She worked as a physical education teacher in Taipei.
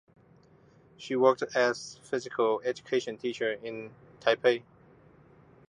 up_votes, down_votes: 1, 2